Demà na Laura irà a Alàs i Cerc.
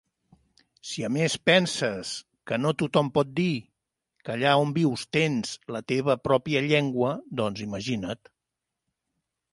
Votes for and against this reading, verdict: 0, 3, rejected